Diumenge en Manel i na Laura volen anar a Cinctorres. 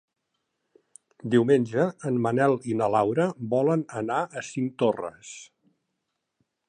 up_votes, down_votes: 2, 0